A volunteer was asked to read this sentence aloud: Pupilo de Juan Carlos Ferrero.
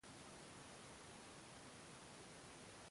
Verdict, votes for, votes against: rejected, 0, 2